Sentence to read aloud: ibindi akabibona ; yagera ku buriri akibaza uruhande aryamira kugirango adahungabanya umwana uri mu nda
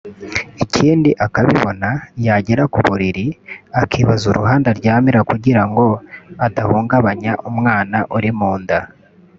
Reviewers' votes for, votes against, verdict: 1, 2, rejected